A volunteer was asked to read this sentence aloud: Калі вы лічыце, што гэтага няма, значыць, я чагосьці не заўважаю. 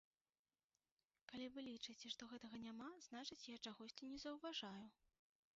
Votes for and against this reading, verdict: 0, 2, rejected